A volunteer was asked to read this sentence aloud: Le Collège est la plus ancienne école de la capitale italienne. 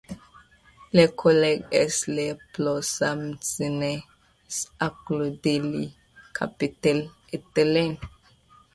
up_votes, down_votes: 2, 0